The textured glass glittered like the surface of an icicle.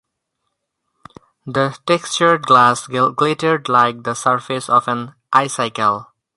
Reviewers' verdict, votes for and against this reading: rejected, 0, 4